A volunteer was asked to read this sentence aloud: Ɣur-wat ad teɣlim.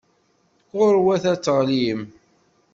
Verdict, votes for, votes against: accepted, 2, 0